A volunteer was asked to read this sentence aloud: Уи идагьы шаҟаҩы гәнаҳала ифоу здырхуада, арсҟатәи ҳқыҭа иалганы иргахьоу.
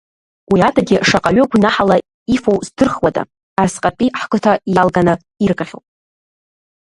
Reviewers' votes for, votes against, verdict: 0, 2, rejected